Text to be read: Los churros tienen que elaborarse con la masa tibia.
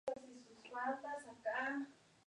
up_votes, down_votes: 0, 2